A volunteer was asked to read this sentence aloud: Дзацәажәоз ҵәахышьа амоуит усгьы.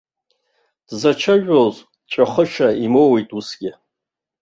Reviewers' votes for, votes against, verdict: 0, 2, rejected